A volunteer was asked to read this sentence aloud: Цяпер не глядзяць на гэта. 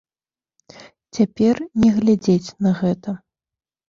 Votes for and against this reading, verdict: 0, 2, rejected